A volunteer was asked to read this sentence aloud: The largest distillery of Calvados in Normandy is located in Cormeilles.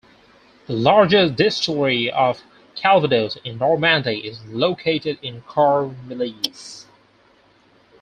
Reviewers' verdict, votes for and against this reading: accepted, 4, 0